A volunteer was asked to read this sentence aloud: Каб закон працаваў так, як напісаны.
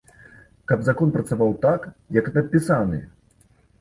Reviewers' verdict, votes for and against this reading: accepted, 2, 0